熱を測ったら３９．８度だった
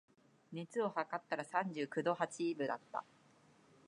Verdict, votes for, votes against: rejected, 0, 2